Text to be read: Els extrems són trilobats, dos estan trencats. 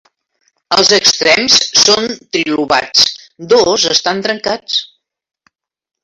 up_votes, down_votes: 1, 2